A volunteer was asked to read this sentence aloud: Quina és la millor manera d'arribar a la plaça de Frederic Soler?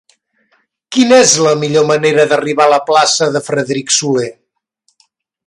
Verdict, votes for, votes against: accepted, 3, 0